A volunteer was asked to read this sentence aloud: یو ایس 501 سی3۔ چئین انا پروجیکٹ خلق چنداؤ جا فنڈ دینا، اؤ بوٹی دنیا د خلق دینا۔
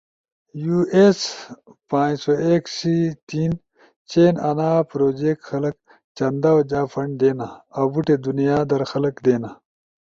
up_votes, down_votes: 0, 2